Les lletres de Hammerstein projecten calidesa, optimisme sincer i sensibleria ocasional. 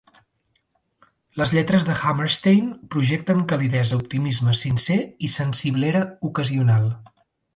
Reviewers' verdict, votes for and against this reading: rejected, 1, 2